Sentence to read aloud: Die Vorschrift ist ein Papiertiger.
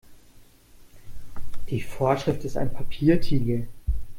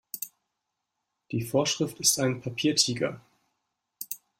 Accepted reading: second